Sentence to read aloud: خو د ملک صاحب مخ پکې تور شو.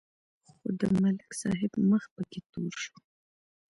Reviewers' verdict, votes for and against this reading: accepted, 2, 1